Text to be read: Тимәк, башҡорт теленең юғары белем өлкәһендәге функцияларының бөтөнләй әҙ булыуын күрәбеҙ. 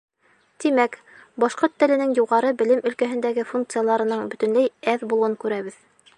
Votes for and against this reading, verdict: 2, 0, accepted